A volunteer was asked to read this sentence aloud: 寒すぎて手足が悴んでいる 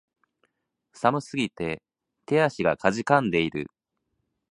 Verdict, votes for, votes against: rejected, 2, 2